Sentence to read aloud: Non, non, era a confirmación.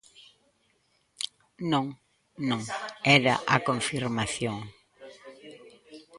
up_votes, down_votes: 0, 2